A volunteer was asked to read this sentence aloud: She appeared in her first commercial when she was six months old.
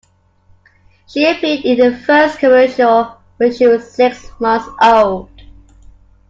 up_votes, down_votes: 2, 0